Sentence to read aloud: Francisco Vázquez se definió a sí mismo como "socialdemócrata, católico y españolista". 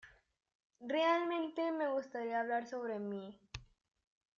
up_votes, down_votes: 0, 2